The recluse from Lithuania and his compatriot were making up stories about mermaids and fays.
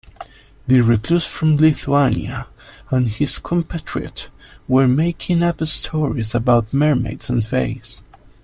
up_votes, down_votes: 2, 0